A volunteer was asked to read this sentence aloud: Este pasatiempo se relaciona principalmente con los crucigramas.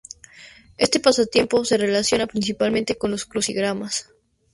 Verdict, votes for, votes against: accepted, 2, 0